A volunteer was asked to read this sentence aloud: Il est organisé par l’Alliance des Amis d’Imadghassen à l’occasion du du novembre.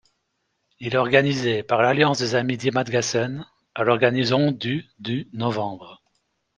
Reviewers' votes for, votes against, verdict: 0, 2, rejected